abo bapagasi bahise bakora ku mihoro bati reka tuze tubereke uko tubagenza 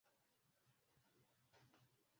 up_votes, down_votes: 0, 2